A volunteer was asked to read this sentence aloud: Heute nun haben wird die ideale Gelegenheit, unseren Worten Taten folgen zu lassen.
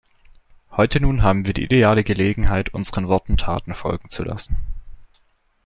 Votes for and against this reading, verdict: 2, 0, accepted